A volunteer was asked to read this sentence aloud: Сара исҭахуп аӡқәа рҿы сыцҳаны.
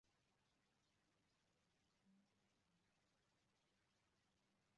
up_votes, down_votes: 0, 2